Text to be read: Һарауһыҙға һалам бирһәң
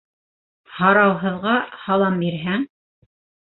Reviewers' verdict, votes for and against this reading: accepted, 3, 0